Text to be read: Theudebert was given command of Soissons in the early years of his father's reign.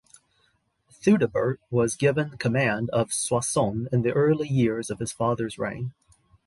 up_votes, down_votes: 2, 0